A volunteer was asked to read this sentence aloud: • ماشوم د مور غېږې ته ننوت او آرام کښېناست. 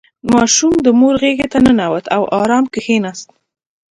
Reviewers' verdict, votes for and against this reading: accepted, 3, 0